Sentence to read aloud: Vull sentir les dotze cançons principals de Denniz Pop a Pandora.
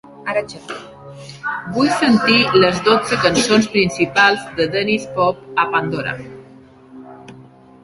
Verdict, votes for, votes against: rejected, 1, 2